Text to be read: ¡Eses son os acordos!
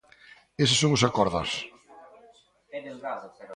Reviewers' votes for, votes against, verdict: 0, 2, rejected